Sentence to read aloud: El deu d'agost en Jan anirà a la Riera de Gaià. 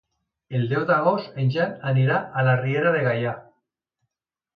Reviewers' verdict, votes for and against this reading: accepted, 2, 0